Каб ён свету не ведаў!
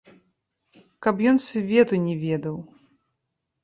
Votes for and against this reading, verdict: 0, 2, rejected